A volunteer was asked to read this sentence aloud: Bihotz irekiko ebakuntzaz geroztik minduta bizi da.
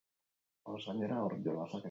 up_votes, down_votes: 2, 6